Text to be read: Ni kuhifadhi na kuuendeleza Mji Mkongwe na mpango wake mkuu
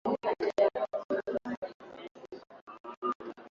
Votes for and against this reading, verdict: 0, 2, rejected